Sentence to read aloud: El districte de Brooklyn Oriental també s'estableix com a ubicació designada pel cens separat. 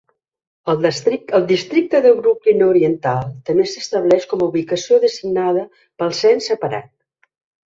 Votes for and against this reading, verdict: 1, 3, rejected